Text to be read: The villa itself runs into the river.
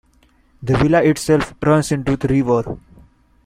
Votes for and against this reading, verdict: 2, 0, accepted